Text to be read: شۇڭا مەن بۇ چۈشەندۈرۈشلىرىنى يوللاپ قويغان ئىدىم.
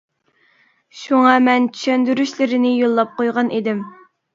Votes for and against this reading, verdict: 0, 2, rejected